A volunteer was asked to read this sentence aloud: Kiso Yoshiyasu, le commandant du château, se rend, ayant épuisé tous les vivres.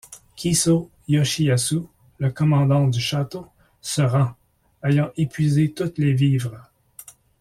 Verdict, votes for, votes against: rejected, 0, 2